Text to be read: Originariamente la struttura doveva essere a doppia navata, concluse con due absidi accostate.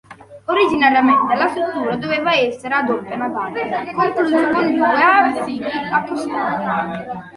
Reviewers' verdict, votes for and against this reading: rejected, 0, 2